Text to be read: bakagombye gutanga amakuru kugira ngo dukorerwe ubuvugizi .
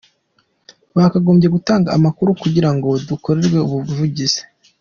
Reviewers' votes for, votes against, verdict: 2, 0, accepted